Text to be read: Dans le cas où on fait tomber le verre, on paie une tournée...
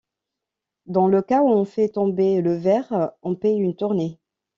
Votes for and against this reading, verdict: 2, 0, accepted